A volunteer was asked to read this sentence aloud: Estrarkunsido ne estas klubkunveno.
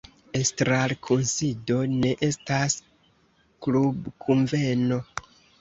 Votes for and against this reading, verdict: 2, 1, accepted